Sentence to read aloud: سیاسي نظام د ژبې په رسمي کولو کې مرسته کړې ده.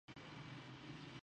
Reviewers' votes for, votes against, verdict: 0, 2, rejected